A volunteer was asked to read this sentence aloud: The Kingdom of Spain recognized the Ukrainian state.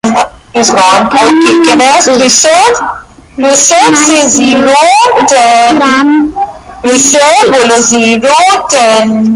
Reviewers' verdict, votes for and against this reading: rejected, 0, 2